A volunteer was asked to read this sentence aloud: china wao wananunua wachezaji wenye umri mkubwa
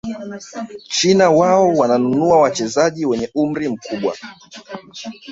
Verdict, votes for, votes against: rejected, 1, 2